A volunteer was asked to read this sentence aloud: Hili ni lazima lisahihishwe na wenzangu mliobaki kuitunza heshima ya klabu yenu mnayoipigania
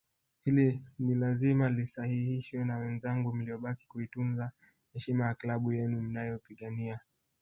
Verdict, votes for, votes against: rejected, 2, 3